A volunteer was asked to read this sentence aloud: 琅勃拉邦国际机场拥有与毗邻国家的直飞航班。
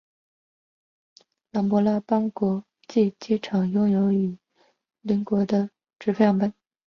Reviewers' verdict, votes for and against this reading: rejected, 1, 4